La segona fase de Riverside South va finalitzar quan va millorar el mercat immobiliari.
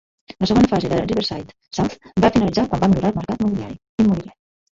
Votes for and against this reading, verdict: 0, 2, rejected